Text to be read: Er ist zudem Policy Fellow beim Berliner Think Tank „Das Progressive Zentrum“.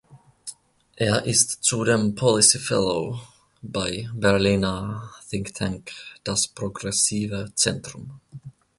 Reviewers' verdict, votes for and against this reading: rejected, 0, 2